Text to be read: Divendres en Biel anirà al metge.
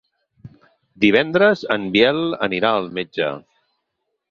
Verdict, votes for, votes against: accepted, 10, 0